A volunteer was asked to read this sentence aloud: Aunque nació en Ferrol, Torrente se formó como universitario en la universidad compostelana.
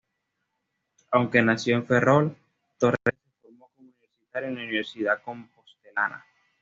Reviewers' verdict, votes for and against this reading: rejected, 0, 2